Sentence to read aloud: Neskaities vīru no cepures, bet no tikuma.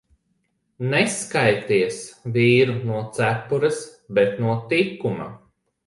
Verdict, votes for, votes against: accepted, 2, 0